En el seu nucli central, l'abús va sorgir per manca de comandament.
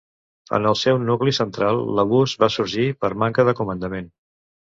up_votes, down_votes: 2, 0